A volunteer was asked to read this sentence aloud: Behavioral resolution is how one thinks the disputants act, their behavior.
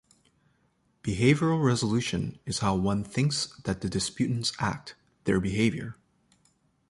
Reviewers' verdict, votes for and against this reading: rejected, 0, 2